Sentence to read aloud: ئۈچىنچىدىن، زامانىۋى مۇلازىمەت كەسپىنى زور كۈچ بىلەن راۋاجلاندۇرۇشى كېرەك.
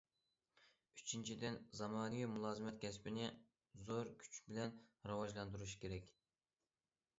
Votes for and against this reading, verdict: 2, 1, accepted